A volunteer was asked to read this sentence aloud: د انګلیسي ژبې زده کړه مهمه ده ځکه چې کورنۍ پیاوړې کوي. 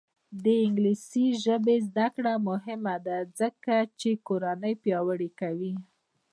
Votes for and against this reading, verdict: 0, 2, rejected